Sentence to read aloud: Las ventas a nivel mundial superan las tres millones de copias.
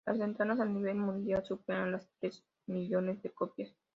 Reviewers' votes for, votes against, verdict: 0, 2, rejected